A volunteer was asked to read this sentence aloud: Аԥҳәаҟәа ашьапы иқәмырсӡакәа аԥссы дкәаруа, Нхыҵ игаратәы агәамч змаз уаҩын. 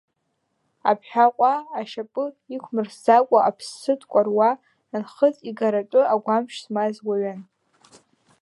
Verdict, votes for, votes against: rejected, 1, 2